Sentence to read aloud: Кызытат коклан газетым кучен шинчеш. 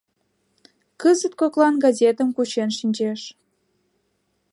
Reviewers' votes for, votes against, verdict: 1, 2, rejected